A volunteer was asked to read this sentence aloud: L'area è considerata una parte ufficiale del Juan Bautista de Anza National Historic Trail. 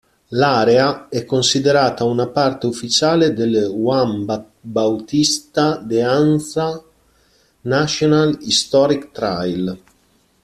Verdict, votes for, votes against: rejected, 0, 2